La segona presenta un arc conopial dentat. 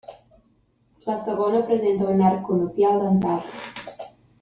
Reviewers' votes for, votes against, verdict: 2, 0, accepted